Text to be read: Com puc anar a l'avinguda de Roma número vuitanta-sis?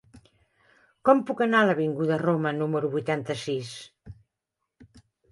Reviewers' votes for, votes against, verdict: 1, 2, rejected